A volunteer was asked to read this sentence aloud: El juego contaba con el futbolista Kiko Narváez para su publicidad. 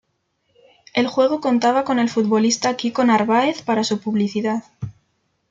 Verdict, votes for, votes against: accepted, 2, 0